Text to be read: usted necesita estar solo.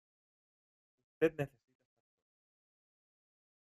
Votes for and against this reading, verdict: 0, 2, rejected